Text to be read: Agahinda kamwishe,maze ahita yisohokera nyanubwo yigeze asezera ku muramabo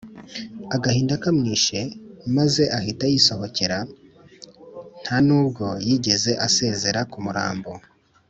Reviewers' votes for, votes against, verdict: 0, 2, rejected